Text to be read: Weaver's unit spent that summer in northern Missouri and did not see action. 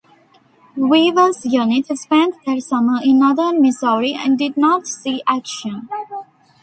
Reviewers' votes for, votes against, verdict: 2, 1, accepted